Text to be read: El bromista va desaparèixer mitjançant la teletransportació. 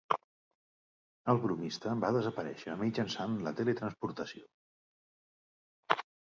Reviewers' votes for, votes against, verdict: 2, 0, accepted